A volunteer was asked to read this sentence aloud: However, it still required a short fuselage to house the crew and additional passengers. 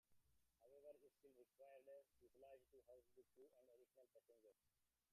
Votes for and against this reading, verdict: 0, 2, rejected